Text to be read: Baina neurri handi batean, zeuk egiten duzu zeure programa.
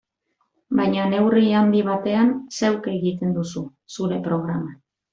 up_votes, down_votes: 0, 2